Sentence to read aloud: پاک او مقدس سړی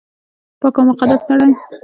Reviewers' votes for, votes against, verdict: 2, 0, accepted